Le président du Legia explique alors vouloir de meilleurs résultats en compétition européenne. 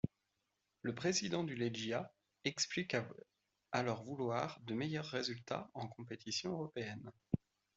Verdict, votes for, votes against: rejected, 1, 2